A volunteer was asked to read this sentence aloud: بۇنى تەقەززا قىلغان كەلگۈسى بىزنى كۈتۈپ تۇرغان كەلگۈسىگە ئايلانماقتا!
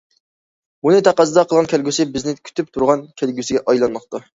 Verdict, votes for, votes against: accepted, 2, 0